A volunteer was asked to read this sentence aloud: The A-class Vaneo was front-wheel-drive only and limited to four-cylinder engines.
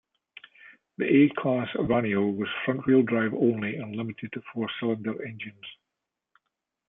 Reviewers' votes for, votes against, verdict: 2, 1, accepted